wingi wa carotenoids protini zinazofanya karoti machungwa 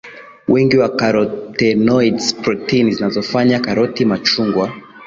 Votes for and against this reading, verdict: 2, 0, accepted